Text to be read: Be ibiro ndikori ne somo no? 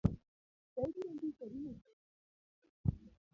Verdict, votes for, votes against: rejected, 1, 2